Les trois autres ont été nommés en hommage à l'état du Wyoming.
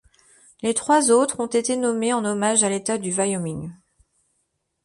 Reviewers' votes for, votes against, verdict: 1, 2, rejected